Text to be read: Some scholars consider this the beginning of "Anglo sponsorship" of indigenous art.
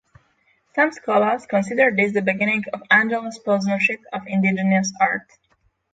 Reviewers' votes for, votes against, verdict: 9, 18, rejected